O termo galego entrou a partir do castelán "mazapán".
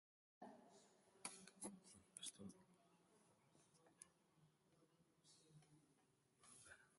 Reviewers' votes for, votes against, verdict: 0, 4, rejected